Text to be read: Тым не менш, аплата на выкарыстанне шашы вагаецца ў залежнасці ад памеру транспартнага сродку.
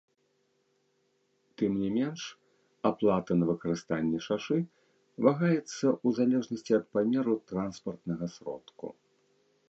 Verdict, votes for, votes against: rejected, 1, 2